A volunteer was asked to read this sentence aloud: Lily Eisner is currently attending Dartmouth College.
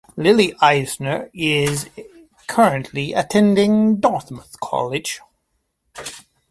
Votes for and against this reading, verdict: 2, 0, accepted